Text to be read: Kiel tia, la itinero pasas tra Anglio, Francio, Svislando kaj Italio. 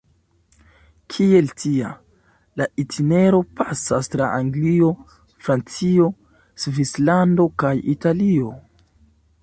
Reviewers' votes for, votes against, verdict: 2, 0, accepted